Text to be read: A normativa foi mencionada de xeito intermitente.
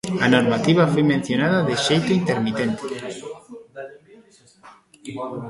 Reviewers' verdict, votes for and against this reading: rejected, 0, 2